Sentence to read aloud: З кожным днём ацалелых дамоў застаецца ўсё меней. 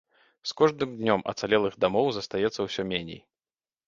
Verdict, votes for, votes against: accepted, 2, 0